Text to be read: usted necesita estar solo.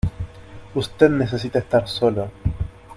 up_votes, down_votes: 2, 0